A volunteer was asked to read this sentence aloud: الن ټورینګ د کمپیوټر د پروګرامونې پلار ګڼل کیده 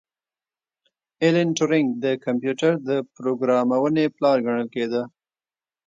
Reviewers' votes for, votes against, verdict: 0, 2, rejected